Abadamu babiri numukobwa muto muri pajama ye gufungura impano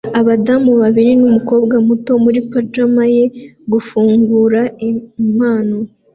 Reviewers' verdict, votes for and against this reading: accepted, 2, 0